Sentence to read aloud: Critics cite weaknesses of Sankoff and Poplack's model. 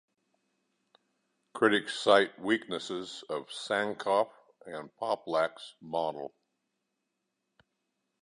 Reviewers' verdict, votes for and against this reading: accepted, 2, 0